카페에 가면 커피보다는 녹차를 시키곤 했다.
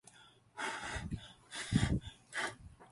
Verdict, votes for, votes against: rejected, 0, 2